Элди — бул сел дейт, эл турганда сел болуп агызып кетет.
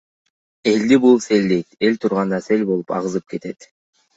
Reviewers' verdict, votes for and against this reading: accepted, 2, 0